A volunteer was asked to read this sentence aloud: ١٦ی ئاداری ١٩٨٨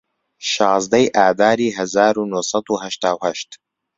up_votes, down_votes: 0, 2